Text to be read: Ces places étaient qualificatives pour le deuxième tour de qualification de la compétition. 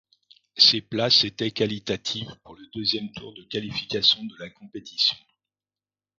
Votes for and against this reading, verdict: 0, 2, rejected